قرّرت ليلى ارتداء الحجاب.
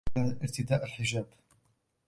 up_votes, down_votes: 1, 2